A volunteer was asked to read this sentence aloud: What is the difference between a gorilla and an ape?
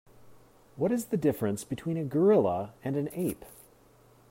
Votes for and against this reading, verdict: 2, 0, accepted